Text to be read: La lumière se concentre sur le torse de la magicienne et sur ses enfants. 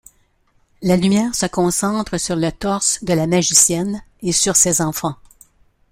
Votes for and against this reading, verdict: 2, 0, accepted